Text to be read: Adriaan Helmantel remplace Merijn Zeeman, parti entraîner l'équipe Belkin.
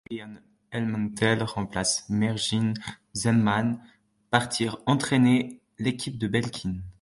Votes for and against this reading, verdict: 0, 2, rejected